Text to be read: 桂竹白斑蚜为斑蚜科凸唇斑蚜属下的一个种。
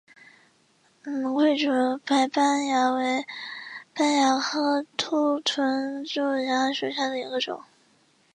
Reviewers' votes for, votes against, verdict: 1, 3, rejected